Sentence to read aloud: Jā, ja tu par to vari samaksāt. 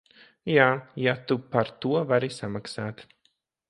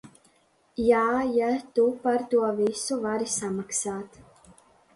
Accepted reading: first